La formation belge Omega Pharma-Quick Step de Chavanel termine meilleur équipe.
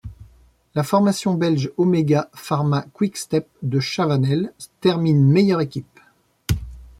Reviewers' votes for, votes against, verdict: 1, 2, rejected